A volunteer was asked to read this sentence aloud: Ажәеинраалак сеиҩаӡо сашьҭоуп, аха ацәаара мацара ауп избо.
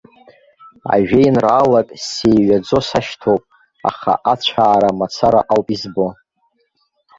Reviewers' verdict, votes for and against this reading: rejected, 0, 2